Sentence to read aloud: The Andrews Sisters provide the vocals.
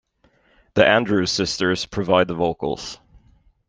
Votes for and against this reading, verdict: 2, 0, accepted